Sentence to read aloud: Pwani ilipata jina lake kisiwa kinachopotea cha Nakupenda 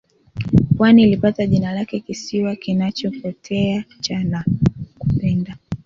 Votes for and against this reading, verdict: 2, 1, accepted